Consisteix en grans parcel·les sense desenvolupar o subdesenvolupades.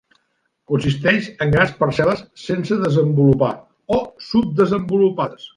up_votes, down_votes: 2, 0